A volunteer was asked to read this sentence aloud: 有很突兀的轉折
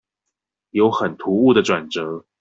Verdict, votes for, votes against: accepted, 2, 0